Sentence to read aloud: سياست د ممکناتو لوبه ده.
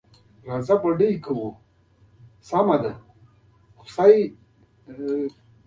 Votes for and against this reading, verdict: 0, 2, rejected